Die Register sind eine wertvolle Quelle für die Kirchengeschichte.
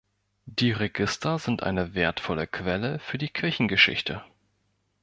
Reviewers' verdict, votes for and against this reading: accepted, 2, 0